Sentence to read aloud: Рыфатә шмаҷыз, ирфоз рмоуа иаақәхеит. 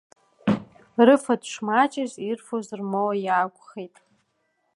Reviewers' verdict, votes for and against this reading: accepted, 2, 0